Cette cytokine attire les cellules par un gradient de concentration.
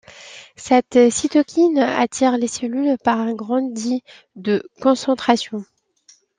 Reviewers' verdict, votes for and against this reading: rejected, 0, 2